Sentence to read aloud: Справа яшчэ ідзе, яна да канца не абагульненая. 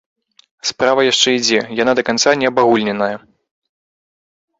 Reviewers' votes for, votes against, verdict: 1, 2, rejected